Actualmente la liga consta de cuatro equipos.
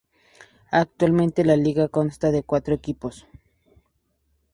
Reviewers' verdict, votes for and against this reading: accepted, 2, 0